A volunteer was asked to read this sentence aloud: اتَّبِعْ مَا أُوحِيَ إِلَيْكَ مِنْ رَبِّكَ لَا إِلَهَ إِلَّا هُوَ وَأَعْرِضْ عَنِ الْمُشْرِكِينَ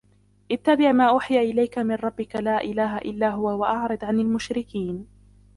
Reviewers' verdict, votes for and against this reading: accepted, 2, 1